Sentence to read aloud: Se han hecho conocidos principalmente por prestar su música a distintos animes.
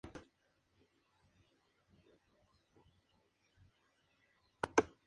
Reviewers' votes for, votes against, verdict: 0, 2, rejected